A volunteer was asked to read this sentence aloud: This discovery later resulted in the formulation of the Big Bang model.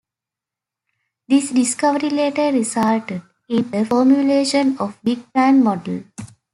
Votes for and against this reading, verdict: 1, 2, rejected